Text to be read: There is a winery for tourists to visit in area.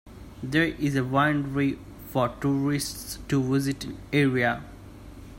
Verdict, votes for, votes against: rejected, 0, 2